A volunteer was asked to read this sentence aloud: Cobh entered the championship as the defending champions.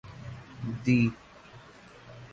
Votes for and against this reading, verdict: 0, 2, rejected